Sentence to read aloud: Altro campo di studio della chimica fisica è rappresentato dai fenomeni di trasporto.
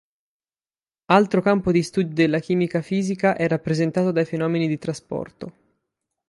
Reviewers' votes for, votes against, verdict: 8, 0, accepted